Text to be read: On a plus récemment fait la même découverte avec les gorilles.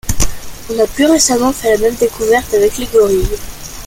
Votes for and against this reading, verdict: 2, 0, accepted